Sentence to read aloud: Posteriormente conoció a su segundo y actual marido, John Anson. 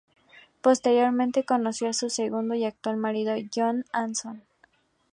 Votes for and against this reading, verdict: 2, 0, accepted